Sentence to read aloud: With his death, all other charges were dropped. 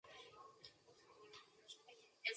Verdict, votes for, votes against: rejected, 0, 2